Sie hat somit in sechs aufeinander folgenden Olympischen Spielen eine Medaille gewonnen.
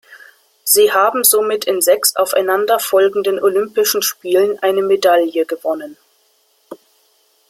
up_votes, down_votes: 0, 2